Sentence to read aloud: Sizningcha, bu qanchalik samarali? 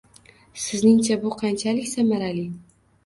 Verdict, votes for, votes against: accepted, 2, 0